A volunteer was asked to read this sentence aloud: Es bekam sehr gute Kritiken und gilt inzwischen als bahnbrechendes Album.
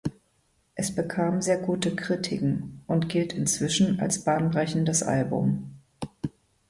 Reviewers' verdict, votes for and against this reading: accepted, 2, 0